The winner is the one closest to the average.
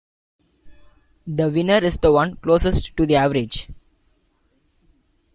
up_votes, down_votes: 2, 0